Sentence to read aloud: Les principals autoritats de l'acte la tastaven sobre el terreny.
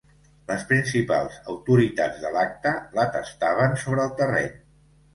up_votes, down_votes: 2, 0